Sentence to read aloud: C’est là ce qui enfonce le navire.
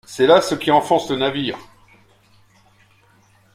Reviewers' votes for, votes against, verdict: 2, 0, accepted